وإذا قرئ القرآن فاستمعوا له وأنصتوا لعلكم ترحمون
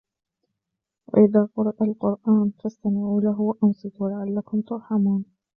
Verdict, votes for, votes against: rejected, 1, 2